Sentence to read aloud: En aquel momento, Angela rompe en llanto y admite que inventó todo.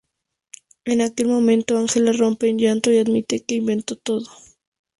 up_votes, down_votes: 4, 0